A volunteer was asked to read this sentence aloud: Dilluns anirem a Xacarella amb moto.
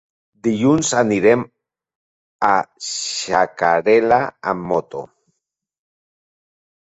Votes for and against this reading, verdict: 0, 2, rejected